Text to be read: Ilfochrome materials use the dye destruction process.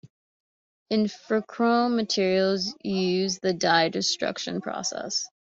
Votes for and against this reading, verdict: 2, 0, accepted